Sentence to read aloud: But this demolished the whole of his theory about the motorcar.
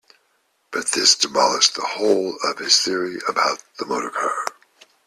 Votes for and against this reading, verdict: 2, 0, accepted